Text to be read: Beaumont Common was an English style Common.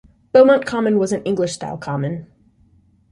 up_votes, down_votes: 2, 0